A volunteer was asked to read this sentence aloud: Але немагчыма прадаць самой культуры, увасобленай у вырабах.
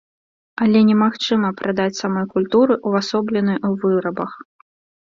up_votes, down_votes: 2, 0